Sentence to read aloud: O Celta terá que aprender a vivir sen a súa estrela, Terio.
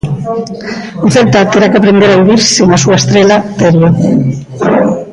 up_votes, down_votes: 1, 2